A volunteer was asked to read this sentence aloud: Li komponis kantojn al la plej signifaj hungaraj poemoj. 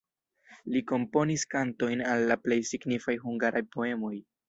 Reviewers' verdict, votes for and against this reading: rejected, 1, 2